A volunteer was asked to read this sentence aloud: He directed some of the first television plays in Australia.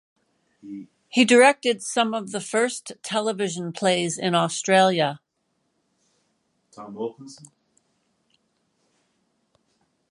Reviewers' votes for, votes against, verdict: 2, 0, accepted